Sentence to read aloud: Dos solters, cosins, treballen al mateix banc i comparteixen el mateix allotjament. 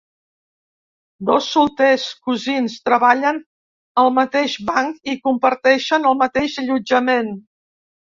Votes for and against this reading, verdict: 2, 0, accepted